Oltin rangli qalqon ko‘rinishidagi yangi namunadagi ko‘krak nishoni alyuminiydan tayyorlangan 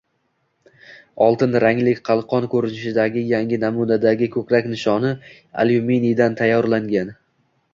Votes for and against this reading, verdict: 2, 0, accepted